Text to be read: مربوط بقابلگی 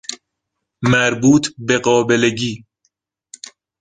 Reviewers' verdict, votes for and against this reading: accepted, 2, 0